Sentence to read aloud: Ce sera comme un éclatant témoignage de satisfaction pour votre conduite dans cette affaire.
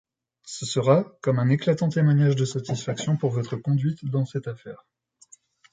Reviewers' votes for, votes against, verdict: 2, 0, accepted